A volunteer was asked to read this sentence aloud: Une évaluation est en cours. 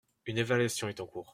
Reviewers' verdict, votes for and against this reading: accepted, 2, 0